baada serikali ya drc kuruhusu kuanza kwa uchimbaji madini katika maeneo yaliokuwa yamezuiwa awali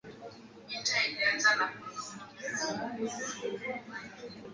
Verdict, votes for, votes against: rejected, 0, 3